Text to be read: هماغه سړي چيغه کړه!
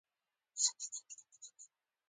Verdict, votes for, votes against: accepted, 2, 0